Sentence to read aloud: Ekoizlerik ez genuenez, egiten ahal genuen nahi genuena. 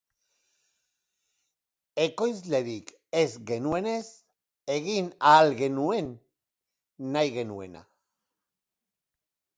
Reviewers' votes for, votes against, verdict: 0, 3, rejected